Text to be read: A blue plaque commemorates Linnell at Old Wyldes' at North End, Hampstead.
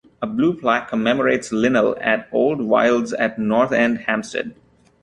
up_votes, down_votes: 2, 0